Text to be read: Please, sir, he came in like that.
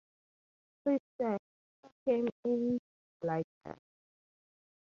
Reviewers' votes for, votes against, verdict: 2, 0, accepted